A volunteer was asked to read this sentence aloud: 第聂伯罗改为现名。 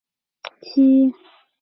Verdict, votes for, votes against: rejected, 0, 2